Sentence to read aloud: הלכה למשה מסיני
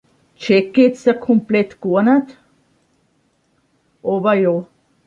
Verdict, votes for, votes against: rejected, 0, 2